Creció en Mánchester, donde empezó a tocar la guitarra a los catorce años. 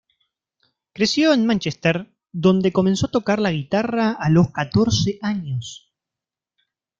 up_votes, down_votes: 0, 2